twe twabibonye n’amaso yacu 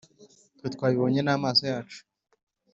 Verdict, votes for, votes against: accepted, 2, 0